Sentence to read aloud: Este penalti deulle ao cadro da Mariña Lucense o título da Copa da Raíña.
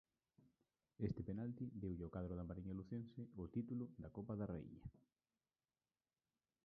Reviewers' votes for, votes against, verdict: 0, 2, rejected